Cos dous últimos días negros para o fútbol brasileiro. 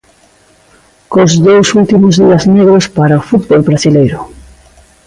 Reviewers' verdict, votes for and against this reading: accepted, 2, 0